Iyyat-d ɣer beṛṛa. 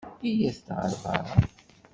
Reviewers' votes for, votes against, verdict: 1, 2, rejected